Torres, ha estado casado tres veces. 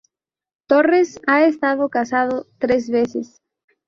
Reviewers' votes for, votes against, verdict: 2, 0, accepted